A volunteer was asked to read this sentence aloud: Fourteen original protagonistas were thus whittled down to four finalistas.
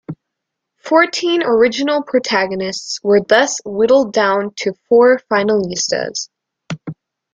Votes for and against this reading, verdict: 1, 2, rejected